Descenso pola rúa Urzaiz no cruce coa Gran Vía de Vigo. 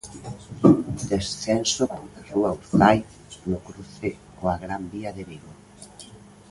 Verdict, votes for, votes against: rejected, 0, 2